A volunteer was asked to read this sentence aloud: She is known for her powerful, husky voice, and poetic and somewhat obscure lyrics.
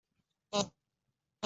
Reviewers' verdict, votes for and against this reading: rejected, 0, 3